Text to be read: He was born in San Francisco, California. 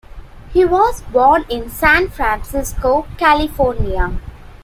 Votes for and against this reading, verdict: 2, 0, accepted